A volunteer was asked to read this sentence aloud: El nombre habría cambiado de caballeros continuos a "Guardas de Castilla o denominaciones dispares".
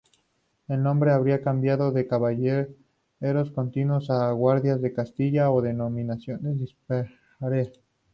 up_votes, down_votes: 2, 0